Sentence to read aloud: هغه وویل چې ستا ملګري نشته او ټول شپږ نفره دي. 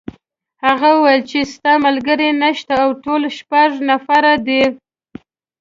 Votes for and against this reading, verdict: 2, 0, accepted